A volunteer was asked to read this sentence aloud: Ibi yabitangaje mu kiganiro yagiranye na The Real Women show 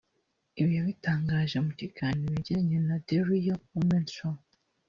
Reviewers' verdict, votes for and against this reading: rejected, 0, 2